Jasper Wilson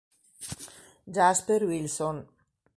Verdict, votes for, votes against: accepted, 3, 0